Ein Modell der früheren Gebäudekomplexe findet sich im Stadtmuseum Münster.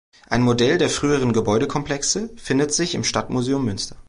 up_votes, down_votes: 2, 0